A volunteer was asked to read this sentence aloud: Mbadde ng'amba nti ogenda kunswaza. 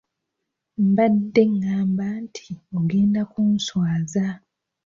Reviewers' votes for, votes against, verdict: 2, 0, accepted